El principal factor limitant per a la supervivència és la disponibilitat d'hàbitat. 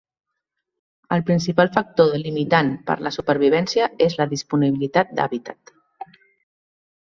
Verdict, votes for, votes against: rejected, 1, 2